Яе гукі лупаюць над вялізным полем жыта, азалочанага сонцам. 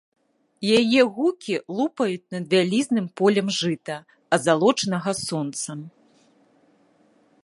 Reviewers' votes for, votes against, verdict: 2, 0, accepted